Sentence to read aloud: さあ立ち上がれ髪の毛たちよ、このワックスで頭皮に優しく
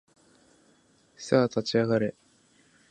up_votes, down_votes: 0, 2